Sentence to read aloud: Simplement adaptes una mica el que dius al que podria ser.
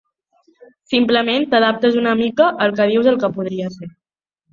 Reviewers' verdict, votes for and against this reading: rejected, 0, 2